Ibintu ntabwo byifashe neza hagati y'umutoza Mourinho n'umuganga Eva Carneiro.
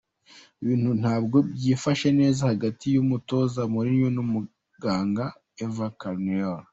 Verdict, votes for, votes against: accepted, 2, 0